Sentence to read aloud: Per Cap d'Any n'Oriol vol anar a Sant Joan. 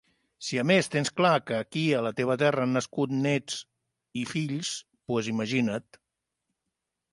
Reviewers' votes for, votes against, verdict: 0, 2, rejected